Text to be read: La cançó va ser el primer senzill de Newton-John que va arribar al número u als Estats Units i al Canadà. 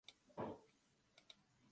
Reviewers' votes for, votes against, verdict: 0, 2, rejected